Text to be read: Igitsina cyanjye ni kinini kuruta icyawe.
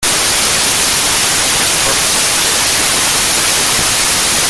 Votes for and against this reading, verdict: 0, 2, rejected